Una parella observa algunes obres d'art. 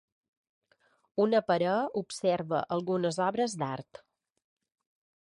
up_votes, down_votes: 0, 2